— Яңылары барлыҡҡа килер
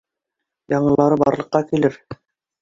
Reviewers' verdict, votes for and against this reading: accepted, 2, 0